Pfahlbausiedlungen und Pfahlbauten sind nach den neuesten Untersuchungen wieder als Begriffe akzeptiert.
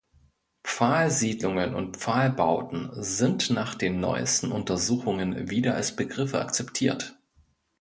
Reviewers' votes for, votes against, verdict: 0, 2, rejected